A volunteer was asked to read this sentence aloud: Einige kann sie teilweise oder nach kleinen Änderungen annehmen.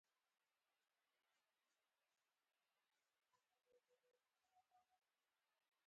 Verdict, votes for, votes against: rejected, 0, 4